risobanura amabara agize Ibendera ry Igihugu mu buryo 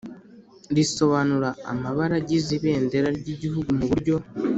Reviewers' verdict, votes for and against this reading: accepted, 3, 0